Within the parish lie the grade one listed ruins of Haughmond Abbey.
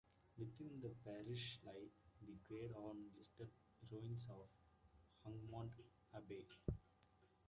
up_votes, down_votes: 0, 2